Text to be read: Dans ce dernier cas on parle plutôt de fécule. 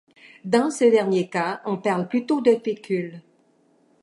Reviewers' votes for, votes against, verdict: 2, 0, accepted